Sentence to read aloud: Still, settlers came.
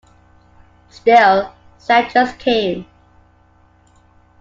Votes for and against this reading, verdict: 2, 1, accepted